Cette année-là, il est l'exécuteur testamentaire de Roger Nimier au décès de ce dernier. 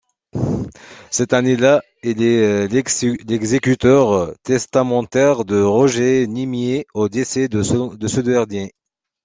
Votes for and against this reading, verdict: 1, 2, rejected